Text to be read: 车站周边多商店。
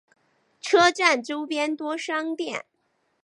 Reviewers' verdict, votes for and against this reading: accepted, 5, 0